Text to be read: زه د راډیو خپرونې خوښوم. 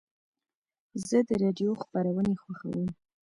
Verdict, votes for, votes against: rejected, 0, 2